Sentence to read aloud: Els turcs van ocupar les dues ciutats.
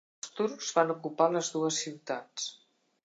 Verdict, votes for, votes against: rejected, 1, 2